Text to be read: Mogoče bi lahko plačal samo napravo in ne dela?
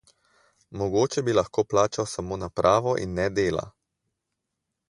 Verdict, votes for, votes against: accepted, 4, 0